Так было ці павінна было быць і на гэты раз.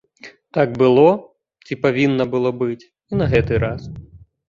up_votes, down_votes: 2, 0